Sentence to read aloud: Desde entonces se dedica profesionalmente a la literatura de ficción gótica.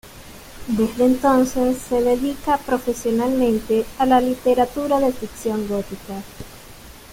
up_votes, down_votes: 2, 0